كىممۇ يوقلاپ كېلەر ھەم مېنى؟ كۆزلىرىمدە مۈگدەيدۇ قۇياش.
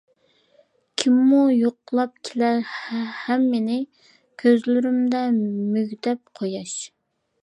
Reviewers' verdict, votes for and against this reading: rejected, 0, 2